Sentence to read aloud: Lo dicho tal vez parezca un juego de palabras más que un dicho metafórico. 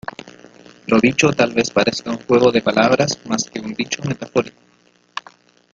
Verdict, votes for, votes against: accepted, 2, 1